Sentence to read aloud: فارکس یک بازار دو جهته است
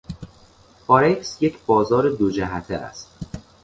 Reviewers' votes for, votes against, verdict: 2, 0, accepted